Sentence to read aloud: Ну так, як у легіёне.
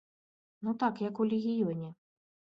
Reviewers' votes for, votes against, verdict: 2, 0, accepted